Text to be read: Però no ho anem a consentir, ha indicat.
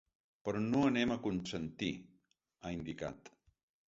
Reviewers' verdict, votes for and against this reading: rejected, 0, 2